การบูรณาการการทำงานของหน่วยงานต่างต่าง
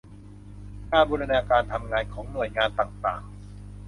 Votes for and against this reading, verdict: 0, 2, rejected